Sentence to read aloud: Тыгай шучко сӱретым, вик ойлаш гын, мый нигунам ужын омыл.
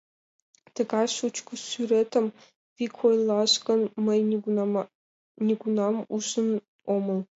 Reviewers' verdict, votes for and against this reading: accepted, 2, 1